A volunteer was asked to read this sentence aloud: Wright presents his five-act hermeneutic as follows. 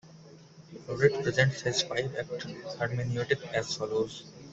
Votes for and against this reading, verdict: 0, 2, rejected